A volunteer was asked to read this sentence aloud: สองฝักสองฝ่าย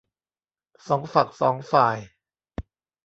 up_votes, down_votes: 2, 0